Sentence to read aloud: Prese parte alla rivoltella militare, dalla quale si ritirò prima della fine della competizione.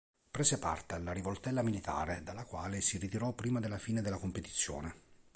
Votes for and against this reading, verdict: 3, 0, accepted